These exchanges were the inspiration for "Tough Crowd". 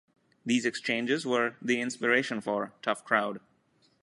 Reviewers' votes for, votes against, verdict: 2, 0, accepted